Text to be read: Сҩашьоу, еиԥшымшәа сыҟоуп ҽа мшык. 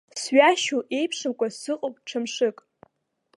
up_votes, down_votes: 0, 2